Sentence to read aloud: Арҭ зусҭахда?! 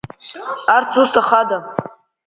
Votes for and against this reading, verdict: 0, 3, rejected